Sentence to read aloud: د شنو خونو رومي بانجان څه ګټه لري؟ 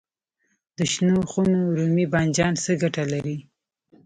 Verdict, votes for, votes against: accepted, 2, 0